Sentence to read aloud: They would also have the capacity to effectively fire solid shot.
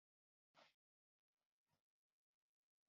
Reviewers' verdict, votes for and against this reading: rejected, 0, 2